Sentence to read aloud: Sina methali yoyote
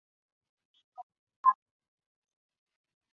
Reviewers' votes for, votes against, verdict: 0, 4, rejected